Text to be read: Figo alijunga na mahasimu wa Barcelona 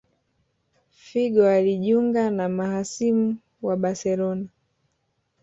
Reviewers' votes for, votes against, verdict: 2, 0, accepted